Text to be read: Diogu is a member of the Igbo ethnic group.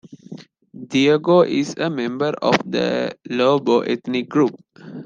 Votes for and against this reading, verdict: 0, 2, rejected